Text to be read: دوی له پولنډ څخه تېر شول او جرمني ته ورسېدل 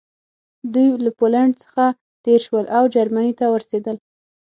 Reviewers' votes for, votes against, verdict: 3, 6, rejected